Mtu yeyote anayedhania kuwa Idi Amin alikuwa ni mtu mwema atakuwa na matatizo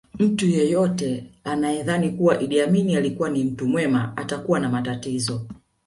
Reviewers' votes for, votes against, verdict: 1, 2, rejected